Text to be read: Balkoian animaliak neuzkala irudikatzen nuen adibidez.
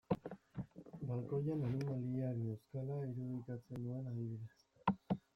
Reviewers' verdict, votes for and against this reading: rejected, 1, 2